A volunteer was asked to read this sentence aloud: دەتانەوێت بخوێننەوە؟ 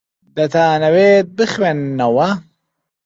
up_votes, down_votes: 2, 0